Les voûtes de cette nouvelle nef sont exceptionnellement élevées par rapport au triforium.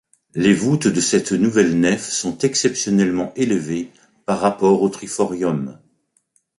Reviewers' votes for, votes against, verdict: 2, 0, accepted